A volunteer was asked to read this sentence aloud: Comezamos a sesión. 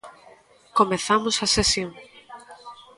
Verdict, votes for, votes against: accepted, 2, 0